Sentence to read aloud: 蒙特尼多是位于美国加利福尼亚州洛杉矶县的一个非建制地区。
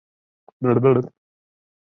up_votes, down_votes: 0, 3